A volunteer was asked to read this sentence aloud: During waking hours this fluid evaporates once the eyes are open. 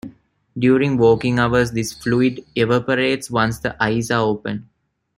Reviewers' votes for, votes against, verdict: 1, 2, rejected